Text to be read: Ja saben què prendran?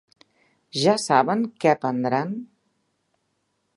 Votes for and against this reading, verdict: 2, 0, accepted